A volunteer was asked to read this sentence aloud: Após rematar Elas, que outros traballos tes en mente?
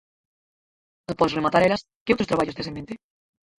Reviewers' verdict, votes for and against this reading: rejected, 0, 4